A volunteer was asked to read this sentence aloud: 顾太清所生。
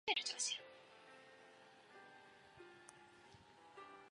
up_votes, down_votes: 0, 2